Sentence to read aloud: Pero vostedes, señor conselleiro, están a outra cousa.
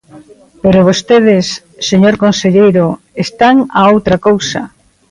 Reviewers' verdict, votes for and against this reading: accepted, 2, 0